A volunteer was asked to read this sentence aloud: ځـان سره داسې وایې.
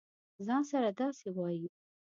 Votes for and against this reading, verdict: 2, 0, accepted